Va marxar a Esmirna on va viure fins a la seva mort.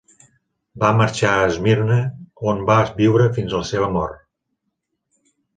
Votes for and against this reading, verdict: 0, 2, rejected